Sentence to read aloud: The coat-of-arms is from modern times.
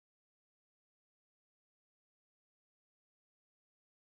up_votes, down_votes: 1, 2